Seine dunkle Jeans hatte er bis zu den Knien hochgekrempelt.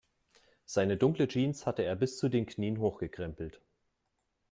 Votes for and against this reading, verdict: 3, 0, accepted